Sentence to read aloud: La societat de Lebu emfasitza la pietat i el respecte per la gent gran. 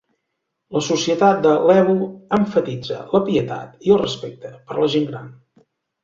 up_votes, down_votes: 1, 2